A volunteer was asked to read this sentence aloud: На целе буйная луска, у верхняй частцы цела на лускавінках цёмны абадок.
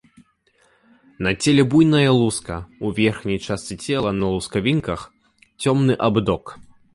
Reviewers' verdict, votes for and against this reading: rejected, 1, 2